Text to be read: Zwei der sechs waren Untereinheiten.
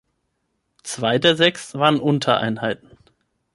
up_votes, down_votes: 6, 0